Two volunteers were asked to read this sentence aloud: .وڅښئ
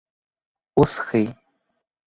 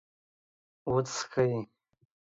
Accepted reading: second